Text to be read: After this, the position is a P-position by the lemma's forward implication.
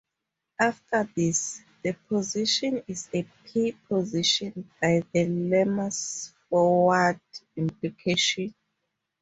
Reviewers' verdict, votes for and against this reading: accepted, 2, 0